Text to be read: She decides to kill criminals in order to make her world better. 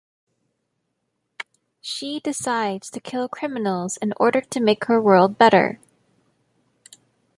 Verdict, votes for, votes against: accepted, 2, 0